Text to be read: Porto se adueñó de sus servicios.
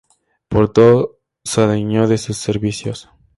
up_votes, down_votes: 2, 4